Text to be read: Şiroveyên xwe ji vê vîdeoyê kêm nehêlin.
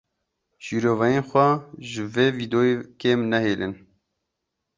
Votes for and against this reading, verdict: 0, 2, rejected